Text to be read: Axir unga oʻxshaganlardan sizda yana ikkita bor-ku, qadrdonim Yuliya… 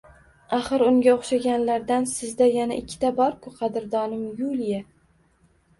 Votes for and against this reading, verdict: 2, 1, accepted